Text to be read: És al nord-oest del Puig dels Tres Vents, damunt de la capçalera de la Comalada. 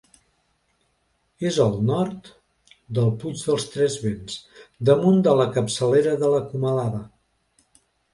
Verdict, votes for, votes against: rejected, 1, 2